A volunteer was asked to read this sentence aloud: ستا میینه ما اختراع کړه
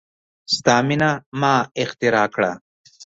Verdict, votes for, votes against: accepted, 2, 0